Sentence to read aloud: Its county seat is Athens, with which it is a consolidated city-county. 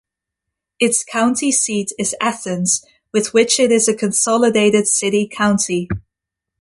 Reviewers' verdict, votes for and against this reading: accepted, 2, 0